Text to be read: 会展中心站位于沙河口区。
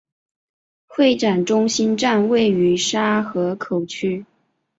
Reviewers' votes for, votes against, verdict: 2, 0, accepted